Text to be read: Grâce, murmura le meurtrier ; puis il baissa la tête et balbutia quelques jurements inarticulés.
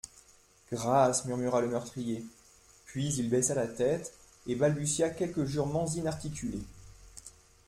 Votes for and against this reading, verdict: 2, 0, accepted